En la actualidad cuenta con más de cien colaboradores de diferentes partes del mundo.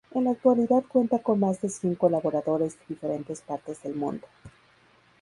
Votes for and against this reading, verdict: 0, 2, rejected